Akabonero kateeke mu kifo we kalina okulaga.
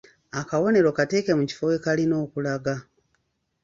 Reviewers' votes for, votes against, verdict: 3, 0, accepted